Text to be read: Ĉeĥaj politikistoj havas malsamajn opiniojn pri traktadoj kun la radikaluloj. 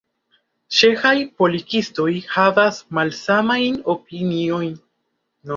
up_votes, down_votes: 2, 3